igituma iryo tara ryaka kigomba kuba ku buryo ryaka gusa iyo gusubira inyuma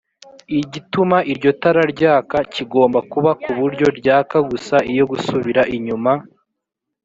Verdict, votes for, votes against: accepted, 3, 0